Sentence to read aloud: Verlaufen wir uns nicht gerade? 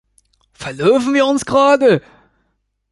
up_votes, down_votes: 1, 2